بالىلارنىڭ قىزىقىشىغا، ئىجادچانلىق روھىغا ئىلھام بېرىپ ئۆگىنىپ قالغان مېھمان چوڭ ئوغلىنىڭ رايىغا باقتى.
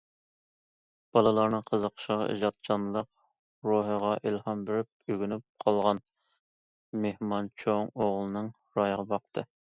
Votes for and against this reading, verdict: 2, 0, accepted